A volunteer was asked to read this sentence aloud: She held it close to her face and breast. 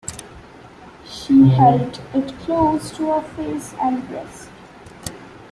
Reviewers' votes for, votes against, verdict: 2, 0, accepted